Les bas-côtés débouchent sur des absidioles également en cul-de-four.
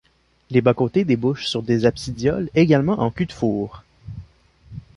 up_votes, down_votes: 2, 0